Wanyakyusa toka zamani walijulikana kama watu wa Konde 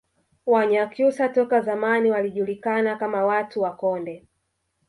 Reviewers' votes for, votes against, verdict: 3, 1, accepted